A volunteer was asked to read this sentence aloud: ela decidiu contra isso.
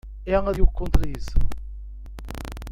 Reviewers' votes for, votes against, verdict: 0, 2, rejected